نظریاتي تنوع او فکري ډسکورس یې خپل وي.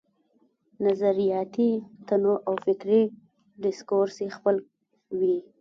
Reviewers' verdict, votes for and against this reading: rejected, 0, 2